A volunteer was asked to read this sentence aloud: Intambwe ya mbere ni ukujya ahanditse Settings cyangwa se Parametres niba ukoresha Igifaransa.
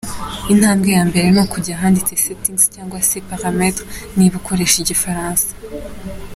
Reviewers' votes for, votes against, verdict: 2, 0, accepted